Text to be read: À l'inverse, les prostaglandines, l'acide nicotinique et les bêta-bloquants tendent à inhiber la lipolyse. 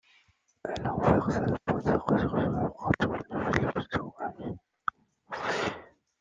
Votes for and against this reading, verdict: 0, 2, rejected